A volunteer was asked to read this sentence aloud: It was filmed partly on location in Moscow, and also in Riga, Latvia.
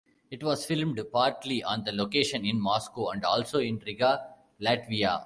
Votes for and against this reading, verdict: 0, 2, rejected